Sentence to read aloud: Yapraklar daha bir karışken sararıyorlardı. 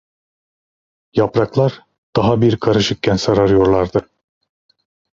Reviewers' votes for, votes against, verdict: 1, 2, rejected